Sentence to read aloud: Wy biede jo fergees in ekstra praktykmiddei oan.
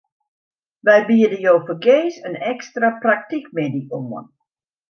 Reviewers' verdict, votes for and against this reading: accepted, 2, 0